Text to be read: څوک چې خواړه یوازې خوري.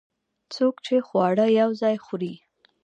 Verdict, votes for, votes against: rejected, 1, 2